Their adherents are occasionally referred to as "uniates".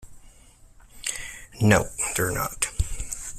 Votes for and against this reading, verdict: 0, 2, rejected